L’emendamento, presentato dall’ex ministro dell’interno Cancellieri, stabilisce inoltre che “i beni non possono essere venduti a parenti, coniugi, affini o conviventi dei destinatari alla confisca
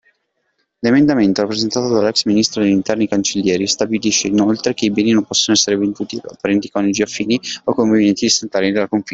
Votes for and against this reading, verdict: 1, 2, rejected